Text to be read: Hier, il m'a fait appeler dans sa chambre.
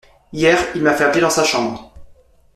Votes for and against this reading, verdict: 1, 2, rejected